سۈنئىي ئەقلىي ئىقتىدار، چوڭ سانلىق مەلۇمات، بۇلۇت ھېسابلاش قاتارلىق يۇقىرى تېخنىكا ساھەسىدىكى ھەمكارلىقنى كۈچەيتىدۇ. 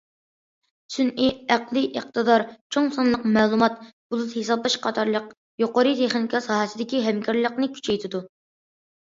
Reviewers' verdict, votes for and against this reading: accepted, 2, 0